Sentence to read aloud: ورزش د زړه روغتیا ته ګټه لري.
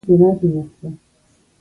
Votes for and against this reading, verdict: 0, 2, rejected